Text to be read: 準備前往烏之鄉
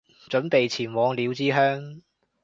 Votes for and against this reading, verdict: 0, 2, rejected